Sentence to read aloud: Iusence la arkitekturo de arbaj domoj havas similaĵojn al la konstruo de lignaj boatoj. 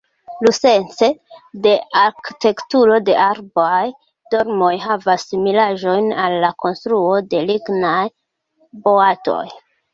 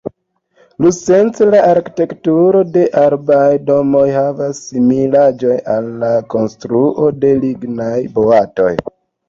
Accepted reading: second